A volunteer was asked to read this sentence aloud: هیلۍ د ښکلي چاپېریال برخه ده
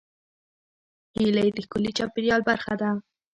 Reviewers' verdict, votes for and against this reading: accepted, 2, 1